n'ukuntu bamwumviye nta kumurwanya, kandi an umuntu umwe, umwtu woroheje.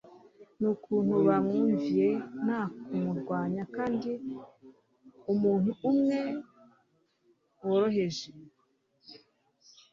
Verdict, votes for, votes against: rejected, 1, 2